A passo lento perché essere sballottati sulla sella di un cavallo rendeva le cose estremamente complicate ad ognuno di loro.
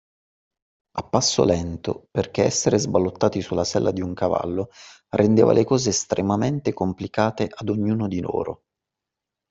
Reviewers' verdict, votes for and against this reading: accepted, 2, 0